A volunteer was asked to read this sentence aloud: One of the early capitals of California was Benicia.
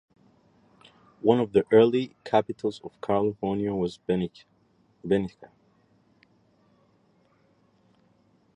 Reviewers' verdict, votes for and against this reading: rejected, 1, 2